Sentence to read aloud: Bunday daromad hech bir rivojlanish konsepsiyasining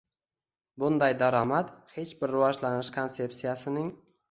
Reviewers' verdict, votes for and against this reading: rejected, 1, 2